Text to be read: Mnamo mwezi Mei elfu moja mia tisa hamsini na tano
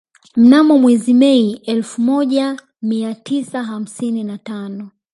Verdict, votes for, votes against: accepted, 3, 0